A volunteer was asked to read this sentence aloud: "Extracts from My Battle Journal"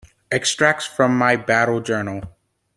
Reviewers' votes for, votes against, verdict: 2, 0, accepted